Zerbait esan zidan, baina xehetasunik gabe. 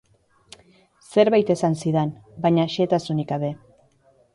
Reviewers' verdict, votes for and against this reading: accepted, 2, 1